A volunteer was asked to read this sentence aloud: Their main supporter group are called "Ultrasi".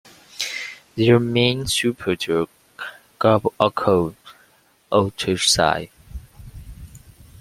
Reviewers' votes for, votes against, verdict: 1, 2, rejected